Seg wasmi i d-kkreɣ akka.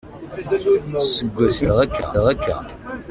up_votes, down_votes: 0, 2